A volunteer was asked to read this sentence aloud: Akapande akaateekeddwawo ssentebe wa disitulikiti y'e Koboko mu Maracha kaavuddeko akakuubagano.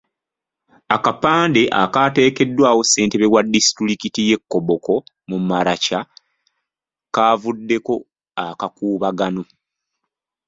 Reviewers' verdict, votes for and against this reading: accepted, 2, 0